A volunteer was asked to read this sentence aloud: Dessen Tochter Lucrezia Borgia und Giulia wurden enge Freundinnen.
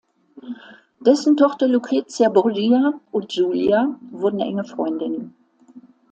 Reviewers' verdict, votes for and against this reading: accepted, 2, 1